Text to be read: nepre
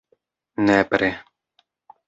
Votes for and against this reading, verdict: 2, 0, accepted